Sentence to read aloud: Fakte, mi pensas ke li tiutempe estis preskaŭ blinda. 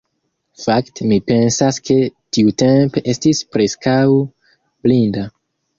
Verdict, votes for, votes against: rejected, 0, 2